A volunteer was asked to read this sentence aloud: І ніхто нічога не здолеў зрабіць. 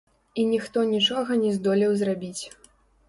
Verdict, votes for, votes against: rejected, 1, 2